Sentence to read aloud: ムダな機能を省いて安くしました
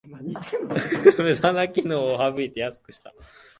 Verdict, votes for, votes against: rejected, 1, 2